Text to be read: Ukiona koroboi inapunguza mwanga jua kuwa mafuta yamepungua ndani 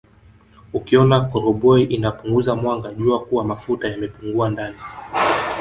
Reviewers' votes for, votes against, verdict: 0, 4, rejected